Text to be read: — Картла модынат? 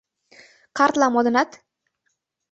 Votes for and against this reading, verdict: 2, 0, accepted